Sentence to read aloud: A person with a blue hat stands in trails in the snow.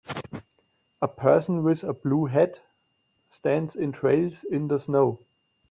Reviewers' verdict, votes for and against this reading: accepted, 2, 0